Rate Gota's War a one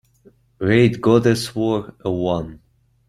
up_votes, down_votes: 1, 2